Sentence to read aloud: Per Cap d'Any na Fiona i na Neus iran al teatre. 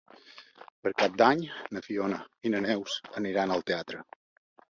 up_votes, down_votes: 1, 2